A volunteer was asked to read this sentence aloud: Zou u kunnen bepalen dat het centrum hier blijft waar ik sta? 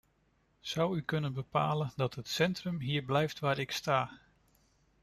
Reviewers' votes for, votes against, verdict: 2, 0, accepted